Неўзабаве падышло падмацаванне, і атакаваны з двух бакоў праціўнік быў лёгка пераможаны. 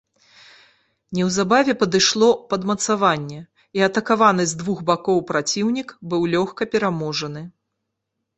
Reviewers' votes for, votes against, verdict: 2, 0, accepted